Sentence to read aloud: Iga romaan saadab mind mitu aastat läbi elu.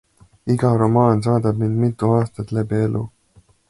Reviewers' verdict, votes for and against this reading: accepted, 2, 0